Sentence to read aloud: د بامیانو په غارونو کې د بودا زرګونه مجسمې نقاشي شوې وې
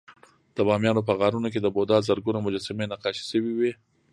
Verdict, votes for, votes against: accepted, 2, 0